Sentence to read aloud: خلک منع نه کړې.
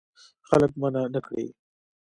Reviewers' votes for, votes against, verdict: 2, 0, accepted